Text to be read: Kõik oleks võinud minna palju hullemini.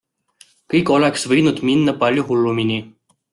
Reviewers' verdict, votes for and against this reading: rejected, 1, 2